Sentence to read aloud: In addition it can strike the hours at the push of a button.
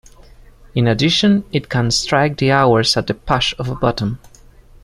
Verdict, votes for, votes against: rejected, 1, 2